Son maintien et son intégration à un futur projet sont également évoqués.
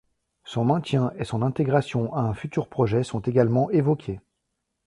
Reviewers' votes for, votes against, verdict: 2, 0, accepted